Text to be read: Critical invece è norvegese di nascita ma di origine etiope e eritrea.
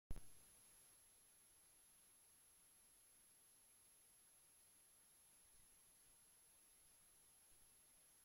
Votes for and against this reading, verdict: 0, 2, rejected